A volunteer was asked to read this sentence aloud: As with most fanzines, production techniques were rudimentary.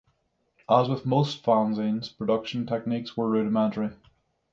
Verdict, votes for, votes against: accepted, 6, 0